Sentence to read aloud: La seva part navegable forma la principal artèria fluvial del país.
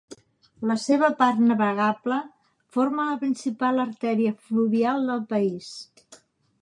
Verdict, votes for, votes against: accepted, 2, 0